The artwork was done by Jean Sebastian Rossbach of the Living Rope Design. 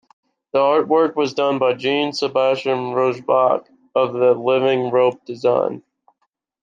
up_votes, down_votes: 2, 1